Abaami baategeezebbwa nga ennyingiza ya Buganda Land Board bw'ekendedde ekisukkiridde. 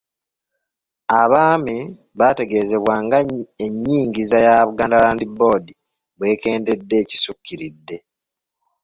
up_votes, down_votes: 2, 1